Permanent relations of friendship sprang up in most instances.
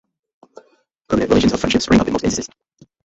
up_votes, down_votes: 0, 2